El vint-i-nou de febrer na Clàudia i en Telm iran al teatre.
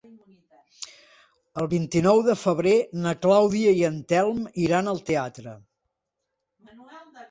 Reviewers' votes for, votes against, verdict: 2, 1, accepted